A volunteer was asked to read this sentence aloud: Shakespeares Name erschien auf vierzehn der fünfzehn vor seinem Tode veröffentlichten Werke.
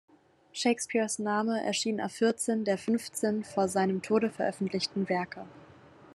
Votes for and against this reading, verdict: 2, 0, accepted